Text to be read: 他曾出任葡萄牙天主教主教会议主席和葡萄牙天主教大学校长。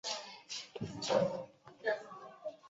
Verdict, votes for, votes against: rejected, 0, 2